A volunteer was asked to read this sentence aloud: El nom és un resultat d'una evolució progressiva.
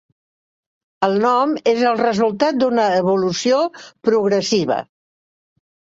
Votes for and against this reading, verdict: 1, 2, rejected